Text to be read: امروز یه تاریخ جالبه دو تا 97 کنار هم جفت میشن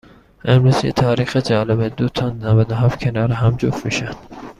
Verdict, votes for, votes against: rejected, 0, 2